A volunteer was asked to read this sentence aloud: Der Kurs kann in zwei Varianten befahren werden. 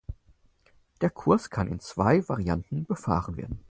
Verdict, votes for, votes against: accepted, 4, 0